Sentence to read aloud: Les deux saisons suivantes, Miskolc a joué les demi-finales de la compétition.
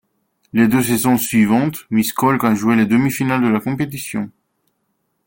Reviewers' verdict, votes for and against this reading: accepted, 2, 1